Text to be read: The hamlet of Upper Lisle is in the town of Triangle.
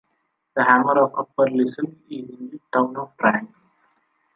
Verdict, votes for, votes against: accepted, 3, 1